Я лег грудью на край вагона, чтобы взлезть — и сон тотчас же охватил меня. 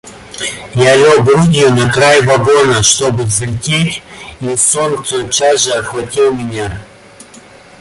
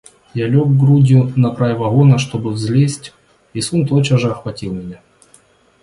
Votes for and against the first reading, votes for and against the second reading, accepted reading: 0, 2, 2, 0, second